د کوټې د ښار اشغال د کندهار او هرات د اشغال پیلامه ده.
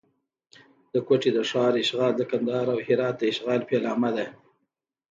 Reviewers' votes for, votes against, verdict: 1, 2, rejected